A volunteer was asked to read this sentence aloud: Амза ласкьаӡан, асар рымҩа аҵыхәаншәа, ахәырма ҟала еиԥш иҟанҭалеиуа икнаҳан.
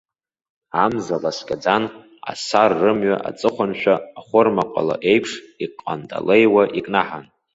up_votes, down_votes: 2, 0